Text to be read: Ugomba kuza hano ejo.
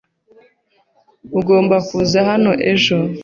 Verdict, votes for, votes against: accepted, 3, 1